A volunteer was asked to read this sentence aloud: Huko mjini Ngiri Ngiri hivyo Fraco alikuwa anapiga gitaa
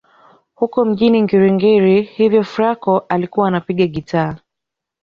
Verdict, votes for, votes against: rejected, 1, 2